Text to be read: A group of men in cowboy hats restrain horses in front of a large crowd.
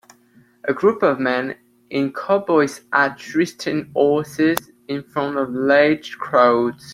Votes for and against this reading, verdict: 0, 2, rejected